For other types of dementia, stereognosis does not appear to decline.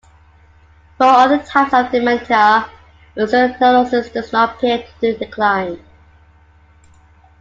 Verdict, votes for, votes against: rejected, 0, 2